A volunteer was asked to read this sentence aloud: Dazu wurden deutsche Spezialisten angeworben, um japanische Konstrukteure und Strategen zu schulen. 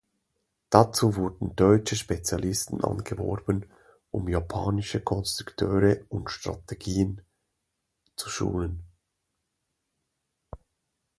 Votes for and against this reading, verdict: 0, 2, rejected